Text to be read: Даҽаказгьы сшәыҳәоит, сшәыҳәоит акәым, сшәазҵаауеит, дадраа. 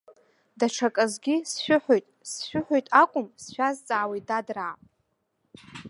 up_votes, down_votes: 2, 0